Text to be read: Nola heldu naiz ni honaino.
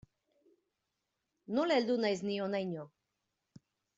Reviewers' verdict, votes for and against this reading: accepted, 2, 0